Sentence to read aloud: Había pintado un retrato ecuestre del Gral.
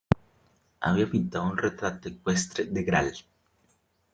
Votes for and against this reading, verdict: 1, 2, rejected